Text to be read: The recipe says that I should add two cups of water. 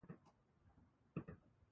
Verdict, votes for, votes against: rejected, 0, 10